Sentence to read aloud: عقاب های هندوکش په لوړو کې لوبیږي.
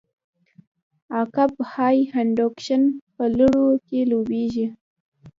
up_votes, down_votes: 0, 2